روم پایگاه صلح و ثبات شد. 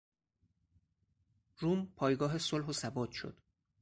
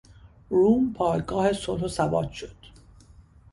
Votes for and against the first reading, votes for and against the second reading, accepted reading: 2, 4, 2, 0, second